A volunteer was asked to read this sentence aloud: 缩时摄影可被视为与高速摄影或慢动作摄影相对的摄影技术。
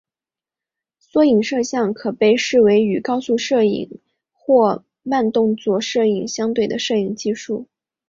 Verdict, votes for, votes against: accepted, 2, 1